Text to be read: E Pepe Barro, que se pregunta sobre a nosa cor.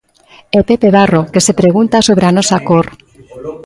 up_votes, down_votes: 1, 2